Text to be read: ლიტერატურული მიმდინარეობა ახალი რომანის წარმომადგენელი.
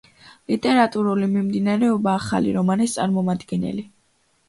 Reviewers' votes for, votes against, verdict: 2, 0, accepted